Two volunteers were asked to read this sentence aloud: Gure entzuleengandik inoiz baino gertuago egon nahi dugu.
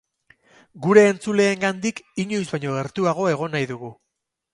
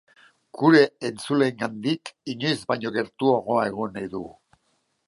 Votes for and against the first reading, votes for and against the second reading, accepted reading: 4, 0, 1, 3, first